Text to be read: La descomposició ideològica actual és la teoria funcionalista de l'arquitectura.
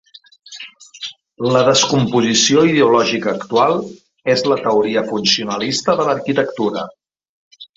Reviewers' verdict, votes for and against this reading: accepted, 3, 1